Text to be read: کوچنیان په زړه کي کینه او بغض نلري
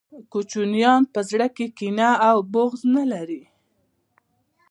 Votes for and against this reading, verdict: 1, 2, rejected